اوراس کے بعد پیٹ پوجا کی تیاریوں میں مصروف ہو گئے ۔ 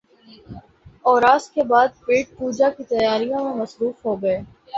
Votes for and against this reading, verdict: 4, 5, rejected